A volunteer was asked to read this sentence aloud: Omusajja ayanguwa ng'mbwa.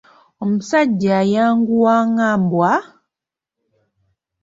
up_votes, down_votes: 2, 0